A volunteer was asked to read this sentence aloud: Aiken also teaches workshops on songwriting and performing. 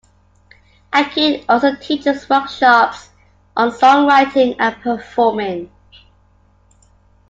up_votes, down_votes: 2, 0